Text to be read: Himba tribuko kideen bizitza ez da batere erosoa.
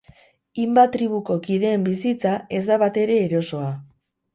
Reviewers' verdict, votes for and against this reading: accepted, 4, 0